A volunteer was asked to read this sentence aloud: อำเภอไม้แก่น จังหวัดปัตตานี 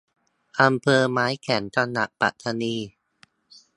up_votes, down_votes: 1, 2